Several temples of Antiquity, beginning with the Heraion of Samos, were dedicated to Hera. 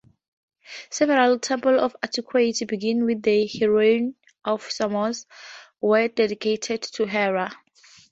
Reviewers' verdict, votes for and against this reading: rejected, 2, 2